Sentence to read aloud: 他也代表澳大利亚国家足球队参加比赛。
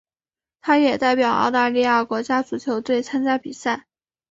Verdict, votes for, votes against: accepted, 3, 0